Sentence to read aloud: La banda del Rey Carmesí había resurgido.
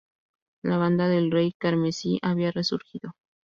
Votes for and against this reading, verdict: 2, 0, accepted